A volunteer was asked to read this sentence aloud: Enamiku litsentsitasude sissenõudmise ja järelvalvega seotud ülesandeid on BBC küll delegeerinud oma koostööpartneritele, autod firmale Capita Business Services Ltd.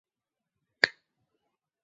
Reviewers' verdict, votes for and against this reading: rejected, 0, 2